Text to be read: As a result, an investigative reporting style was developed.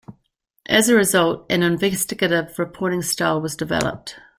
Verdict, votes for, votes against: accepted, 2, 0